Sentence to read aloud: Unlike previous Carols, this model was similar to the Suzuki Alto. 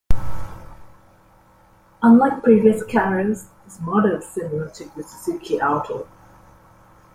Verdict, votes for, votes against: rejected, 0, 2